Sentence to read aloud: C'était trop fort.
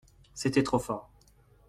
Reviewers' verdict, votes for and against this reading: accepted, 2, 0